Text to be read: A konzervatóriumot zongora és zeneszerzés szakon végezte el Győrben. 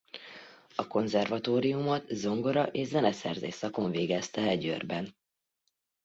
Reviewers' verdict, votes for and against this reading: accepted, 3, 0